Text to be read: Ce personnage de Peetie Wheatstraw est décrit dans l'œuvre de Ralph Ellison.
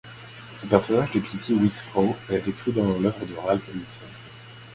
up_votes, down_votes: 2, 0